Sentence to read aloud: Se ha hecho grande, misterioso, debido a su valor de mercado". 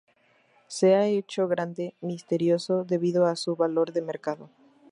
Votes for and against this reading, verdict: 2, 0, accepted